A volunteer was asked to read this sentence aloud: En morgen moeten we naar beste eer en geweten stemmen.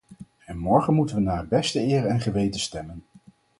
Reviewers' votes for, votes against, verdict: 4, 0, accepted